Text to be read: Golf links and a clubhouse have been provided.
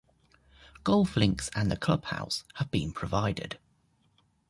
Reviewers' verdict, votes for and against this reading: accepted, 2, 0